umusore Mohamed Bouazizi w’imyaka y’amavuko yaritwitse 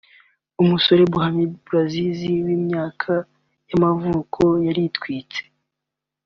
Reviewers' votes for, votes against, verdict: 2, 0, accepted